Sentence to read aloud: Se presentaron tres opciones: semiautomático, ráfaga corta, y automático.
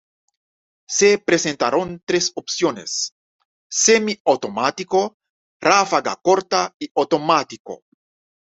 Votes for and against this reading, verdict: 2, 0, accepted